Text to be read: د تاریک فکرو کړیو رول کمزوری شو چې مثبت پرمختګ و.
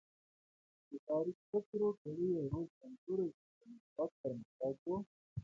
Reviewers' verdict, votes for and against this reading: rejected, 0, 2